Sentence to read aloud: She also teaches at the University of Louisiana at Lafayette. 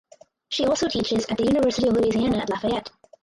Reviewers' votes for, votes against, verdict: 0, 4, rejected